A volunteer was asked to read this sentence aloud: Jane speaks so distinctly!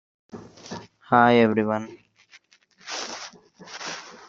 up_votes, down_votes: 0, 2